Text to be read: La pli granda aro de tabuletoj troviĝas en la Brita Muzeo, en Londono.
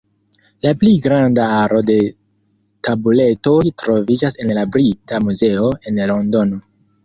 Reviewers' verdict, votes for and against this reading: accepted, 2, 0